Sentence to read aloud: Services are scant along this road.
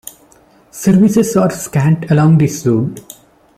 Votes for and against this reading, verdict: 3, 1, accepted